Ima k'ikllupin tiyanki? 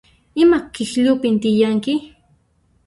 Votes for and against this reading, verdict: 1, 2, rejected